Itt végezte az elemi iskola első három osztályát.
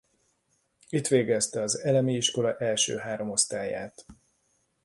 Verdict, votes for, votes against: accepted, 2, 0